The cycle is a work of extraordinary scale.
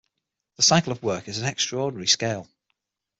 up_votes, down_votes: 0, 6